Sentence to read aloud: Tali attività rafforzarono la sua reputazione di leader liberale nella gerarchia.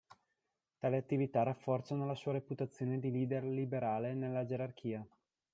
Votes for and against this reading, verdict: 2, 0, accepted